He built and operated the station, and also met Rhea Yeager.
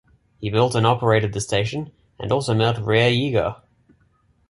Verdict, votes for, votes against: accepted, 2, 0